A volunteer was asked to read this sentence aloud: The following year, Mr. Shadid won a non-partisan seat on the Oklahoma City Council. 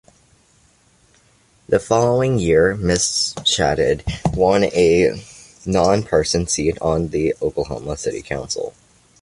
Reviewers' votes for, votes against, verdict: 2, 0, accepted